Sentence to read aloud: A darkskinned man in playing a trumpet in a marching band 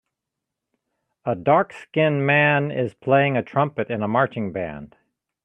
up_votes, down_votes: 1, 2